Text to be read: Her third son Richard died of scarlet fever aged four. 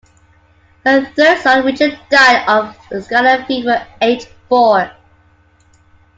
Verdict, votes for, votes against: accepted, 2, 1